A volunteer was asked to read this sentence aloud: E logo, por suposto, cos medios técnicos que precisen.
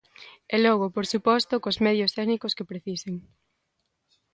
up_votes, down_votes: 2, 0